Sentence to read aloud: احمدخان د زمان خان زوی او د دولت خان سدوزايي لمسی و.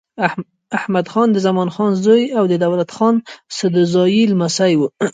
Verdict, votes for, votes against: accepted, 3, 0